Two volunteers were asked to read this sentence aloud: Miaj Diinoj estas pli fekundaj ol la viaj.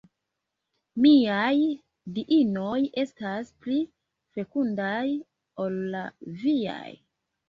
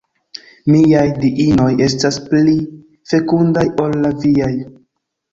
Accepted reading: first